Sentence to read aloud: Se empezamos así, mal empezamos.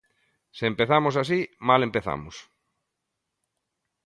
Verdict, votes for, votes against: accepted, 2, 0